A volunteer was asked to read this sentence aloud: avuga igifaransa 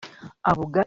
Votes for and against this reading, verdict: 0, 2, rejected